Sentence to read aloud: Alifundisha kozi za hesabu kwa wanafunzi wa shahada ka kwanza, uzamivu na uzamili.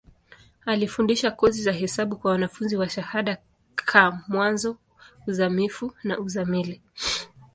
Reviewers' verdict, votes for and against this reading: rejected, 0, 2